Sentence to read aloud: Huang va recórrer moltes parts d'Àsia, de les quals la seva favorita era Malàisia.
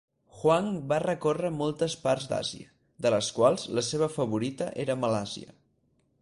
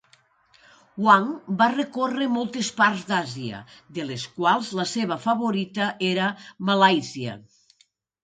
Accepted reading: second